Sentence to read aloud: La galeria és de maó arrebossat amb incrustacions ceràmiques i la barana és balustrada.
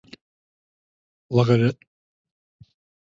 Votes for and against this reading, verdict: 0, 4, rejected